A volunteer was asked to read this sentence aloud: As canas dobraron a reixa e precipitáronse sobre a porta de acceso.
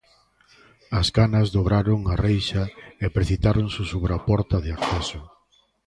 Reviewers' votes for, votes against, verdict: 0, 2, rejected